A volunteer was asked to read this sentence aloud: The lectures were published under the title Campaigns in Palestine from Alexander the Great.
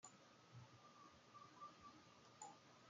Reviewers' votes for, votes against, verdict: 0, 2, rejected